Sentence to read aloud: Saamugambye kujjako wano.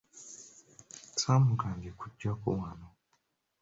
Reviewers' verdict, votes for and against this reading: accepted, 2, 0